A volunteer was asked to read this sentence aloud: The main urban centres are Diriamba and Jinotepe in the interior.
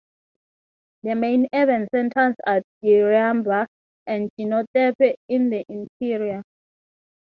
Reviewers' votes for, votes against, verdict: 3, 0, accepted